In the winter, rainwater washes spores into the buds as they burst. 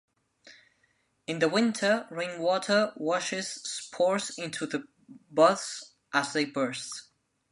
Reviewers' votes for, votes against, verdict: 0, 2, rejected